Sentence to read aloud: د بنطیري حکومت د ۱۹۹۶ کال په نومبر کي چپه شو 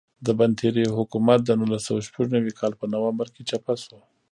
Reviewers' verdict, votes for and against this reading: rejected, 0, 2